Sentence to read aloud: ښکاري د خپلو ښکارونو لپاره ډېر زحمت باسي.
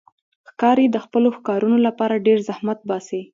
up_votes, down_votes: 2, 0